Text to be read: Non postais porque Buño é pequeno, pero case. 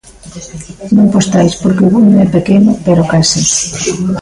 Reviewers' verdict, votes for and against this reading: rejected, 0, 2